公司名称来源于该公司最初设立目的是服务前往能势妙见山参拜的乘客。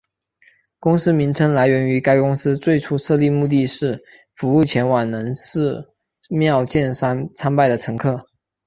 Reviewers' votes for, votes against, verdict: 3, 1, accepted